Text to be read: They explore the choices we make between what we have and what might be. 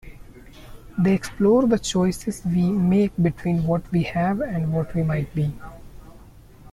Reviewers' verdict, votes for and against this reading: rejected, 0, 2